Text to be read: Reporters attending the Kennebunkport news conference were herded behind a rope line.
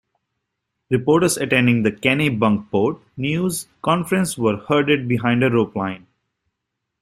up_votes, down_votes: 1, 2